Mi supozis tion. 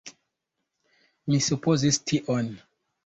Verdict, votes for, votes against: accepted, 2, 0